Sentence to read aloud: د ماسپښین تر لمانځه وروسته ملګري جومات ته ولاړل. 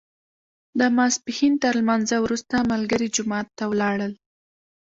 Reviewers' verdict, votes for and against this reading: accepted, 2, 0